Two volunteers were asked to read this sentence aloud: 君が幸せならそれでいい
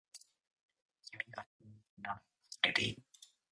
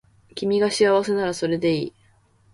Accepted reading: second